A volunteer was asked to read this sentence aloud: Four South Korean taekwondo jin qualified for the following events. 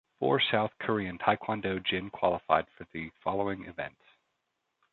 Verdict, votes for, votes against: accepted, 2, 0